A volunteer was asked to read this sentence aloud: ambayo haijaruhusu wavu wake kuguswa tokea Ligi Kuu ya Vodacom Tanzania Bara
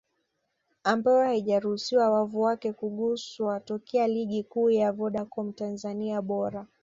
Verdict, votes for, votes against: rejected, 1, 2